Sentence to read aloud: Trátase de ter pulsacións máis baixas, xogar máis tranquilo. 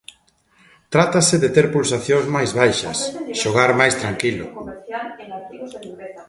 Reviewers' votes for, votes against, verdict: 1, 2, rejected